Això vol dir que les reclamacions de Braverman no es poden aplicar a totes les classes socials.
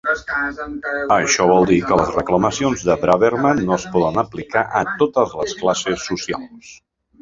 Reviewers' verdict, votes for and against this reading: rejected, 0, 3